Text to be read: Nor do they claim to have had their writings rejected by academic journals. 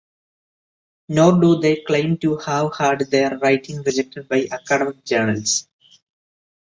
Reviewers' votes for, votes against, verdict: 2, 0, accepted